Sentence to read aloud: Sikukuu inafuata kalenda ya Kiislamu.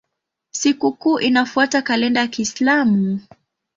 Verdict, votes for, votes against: accepted, 2, 0